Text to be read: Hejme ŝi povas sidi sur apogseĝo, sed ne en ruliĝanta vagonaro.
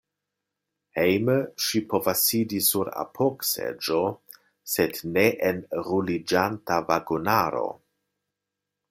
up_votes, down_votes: 2, 0